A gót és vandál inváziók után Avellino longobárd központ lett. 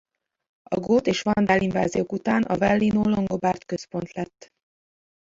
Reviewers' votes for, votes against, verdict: 0, 2, rejected